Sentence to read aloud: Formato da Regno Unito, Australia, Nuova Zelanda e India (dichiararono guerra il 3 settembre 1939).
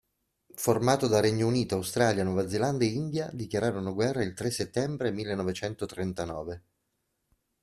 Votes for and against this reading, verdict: 0, 2, rejected